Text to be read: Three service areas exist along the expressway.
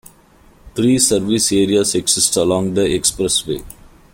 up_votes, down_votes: 2, 0